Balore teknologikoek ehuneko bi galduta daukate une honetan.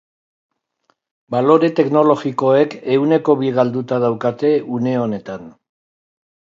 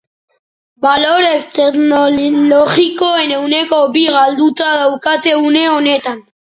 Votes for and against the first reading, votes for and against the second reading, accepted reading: 5, 0, 1, 2, first